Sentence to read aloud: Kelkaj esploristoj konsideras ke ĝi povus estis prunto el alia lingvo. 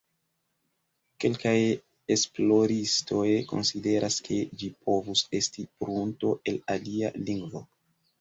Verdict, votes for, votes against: accepted, 2, 0